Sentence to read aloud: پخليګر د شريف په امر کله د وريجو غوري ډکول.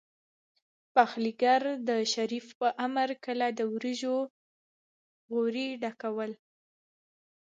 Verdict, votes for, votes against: accepted, 3, 1